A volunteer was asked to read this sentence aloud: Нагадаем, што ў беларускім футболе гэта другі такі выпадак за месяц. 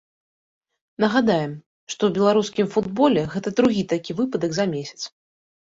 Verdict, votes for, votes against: accepted, 2, 0